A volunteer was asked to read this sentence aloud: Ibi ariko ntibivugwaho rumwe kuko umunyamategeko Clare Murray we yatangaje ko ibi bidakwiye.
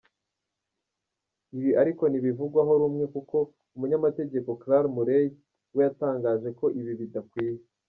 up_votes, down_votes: 1, 2